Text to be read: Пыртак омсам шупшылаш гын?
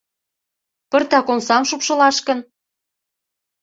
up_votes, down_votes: 2, 0